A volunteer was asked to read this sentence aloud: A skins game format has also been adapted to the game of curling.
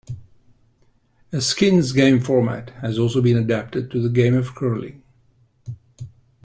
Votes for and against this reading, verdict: 2, 0, accepted